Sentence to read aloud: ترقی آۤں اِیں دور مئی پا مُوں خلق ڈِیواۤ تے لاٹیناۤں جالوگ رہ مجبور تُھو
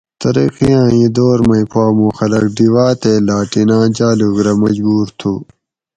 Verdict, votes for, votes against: accepted, 4, 0